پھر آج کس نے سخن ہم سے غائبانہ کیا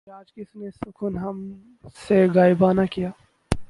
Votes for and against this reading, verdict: 0, 4, rejected